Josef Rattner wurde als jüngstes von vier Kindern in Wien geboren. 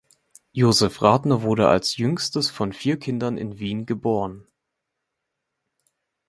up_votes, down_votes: 2, 0